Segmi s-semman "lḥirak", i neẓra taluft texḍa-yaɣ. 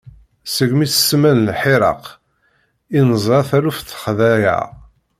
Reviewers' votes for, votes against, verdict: 1, 2, rejected